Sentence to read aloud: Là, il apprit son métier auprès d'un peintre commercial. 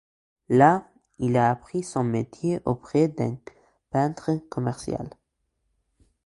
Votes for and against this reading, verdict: 0, 2, rejected